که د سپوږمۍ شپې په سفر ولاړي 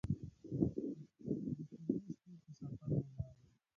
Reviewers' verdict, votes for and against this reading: rejected, 0, 2